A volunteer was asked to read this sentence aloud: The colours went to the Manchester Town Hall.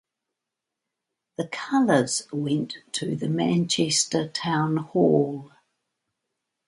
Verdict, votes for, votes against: accepted, 2, 0